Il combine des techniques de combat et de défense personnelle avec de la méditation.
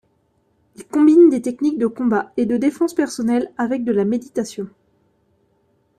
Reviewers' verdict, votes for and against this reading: accepted, 2, 0